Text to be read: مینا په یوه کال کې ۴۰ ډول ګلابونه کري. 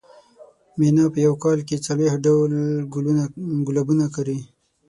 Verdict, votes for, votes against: rejected, 0, 2